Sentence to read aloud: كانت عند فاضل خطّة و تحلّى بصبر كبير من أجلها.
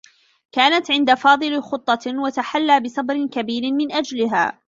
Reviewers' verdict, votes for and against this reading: accepted, 2, 1